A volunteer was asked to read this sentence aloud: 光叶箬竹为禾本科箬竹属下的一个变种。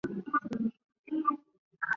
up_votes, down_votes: 2, 0